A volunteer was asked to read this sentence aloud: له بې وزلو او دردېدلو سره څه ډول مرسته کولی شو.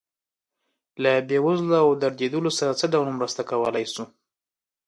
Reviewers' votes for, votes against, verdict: 2, 0, accepted